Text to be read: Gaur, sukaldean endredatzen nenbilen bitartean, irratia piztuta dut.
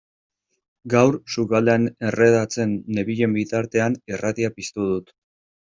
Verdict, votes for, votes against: rejected, 1, 2